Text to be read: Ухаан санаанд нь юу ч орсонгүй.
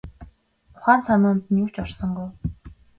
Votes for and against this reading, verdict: 1, 2, rejected